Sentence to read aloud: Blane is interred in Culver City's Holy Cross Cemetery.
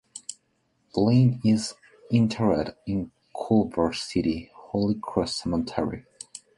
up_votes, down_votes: 1, 4